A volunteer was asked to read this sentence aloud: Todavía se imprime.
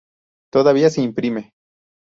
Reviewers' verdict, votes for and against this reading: accepted, 2, 0